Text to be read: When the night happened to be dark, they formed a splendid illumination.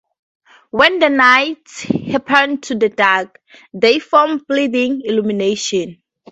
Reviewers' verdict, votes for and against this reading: rejected, 0, 2